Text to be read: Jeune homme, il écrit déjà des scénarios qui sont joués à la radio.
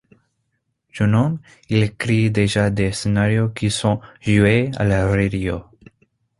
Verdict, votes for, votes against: accepted, 2, 1